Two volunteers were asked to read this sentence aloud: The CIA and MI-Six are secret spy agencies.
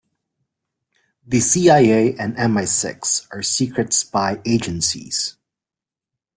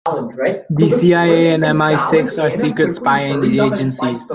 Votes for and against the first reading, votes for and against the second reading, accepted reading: 2, 0, 1, 2, first